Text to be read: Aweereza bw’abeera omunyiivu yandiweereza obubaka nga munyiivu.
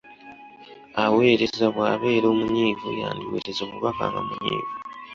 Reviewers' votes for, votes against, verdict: 0, 2, rejected